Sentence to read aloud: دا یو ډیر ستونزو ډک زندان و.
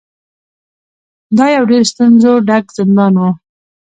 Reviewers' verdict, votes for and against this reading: rejected, 1, 2